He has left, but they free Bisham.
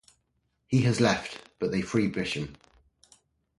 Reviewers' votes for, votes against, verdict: 2, 0, accepted